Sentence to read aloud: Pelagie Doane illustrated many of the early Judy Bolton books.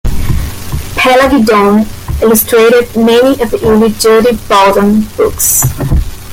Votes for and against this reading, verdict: 0, 2, rejected